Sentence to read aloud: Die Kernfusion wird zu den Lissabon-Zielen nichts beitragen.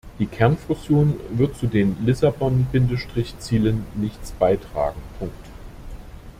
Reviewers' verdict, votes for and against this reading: rejected, 0, 2